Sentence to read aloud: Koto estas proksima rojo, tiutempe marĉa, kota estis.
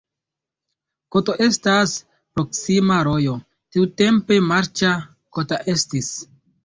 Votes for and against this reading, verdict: 2, 1, accepted